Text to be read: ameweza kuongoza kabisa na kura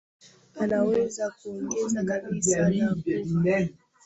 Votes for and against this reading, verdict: 0, 2, rejected